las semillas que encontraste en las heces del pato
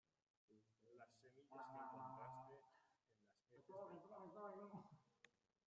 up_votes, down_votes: 0, 2